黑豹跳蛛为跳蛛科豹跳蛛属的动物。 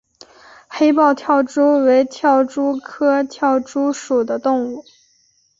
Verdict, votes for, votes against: accepted, 2, 0